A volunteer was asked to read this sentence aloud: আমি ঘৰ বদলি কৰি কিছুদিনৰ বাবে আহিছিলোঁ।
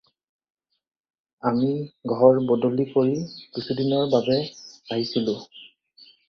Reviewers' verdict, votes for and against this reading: accepted, 4, 0